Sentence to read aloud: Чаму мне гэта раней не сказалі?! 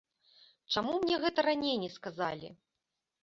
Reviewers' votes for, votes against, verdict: 2, 0, accepted